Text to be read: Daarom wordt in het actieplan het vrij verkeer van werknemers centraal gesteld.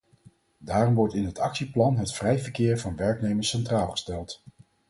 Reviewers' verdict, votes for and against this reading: accepted, 4, 0